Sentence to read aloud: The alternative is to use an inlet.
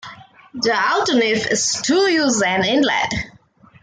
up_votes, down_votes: 2, 1